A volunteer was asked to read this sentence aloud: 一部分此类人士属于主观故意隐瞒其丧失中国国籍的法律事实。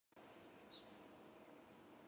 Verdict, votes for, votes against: accepted, 2, 1